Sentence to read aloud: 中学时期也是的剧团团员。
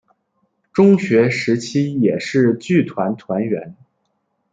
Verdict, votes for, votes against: rejected, 0, 2